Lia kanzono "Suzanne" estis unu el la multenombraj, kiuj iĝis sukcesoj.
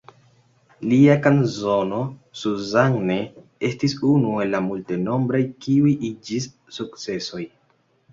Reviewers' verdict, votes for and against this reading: accepted, 2, 0